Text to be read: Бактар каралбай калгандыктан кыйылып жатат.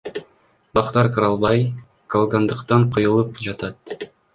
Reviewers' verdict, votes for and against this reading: rejected, 1, 2